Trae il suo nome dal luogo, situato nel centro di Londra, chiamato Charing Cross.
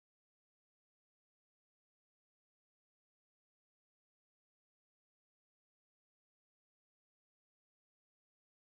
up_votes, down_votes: 0, 2